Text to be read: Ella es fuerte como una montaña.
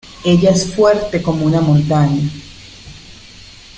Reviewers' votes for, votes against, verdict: 2, 0, accepted